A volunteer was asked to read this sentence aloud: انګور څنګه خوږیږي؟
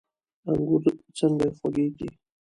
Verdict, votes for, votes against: accepted, 2, 0